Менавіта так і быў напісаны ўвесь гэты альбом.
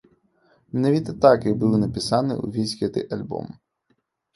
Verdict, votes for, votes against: accepted, 2, 0